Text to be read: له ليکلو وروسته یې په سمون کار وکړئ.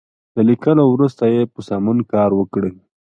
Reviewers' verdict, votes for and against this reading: accepted, 2, 0